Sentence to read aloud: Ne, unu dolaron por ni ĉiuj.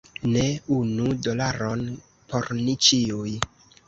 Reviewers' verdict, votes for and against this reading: rejected, 1, 2